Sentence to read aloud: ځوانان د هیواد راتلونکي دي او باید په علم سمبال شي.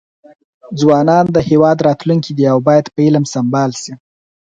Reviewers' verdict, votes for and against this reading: accepted, 4, 0